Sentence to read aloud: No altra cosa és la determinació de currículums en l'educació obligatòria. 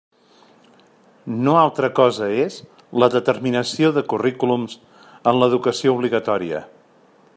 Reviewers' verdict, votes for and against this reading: accepted, 3, 0